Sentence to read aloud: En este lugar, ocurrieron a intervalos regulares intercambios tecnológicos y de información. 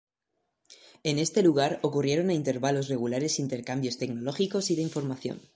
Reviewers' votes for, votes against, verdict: 2, 0, accepted